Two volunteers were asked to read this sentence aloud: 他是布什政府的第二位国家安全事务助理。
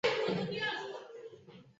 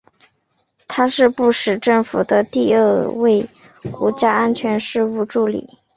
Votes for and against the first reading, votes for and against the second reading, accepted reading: 0, 2, 6, 0, second